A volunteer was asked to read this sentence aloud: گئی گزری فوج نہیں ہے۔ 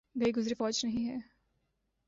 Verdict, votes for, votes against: accepted, 2, 0